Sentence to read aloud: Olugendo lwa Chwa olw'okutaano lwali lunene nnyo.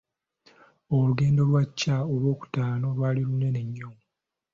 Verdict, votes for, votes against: accepted, 2, 0